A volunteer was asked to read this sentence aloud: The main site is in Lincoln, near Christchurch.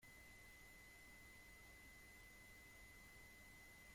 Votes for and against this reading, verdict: 0, 2, rejected